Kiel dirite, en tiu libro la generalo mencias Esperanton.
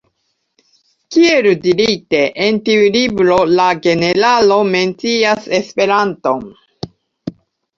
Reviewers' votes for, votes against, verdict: 2, 0, accepted